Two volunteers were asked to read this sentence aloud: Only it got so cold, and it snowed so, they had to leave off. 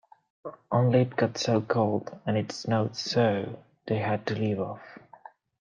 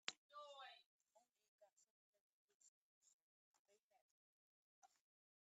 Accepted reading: first